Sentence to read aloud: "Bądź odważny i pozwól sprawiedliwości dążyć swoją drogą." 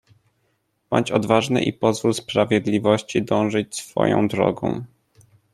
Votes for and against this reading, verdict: 2, 0, accepted